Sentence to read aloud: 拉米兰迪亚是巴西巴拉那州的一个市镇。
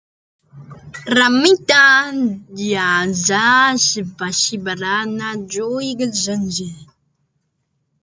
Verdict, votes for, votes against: rejected, 0, 2